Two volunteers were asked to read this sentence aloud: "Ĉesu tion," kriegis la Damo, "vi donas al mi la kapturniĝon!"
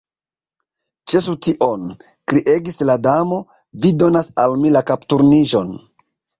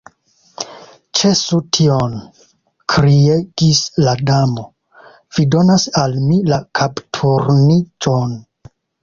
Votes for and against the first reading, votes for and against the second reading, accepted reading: 2, 0, 1, 2, first